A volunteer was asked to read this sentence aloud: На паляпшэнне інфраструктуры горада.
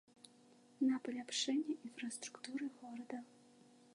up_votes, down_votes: 2, 0